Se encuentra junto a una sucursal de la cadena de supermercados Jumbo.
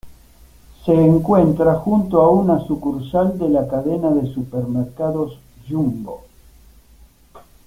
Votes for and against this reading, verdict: 0, 2, rejected